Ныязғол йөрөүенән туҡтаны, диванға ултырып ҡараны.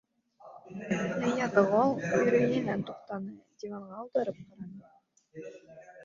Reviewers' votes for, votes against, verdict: 0, 2, rejected